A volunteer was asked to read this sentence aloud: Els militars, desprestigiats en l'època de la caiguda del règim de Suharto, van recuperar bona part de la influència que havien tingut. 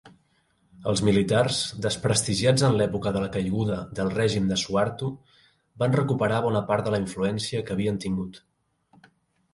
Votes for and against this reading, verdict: 2, 0, accepted